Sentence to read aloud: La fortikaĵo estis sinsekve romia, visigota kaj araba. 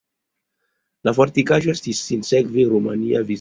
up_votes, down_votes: 0, 2